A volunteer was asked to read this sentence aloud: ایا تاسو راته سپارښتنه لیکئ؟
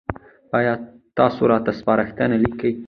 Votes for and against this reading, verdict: 2, 0, accepted